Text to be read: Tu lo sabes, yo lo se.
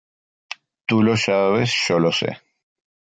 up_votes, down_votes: 3, 1